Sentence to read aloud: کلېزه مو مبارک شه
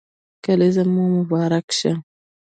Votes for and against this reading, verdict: 1, 2, rejected